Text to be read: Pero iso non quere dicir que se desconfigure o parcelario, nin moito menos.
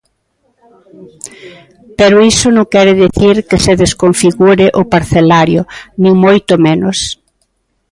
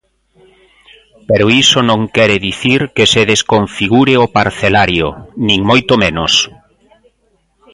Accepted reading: first